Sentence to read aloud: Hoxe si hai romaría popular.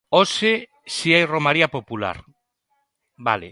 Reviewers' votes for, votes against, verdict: 0, 2, rejected